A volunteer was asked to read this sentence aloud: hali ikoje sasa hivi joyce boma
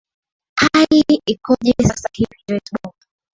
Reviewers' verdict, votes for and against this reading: rejected, 0, 2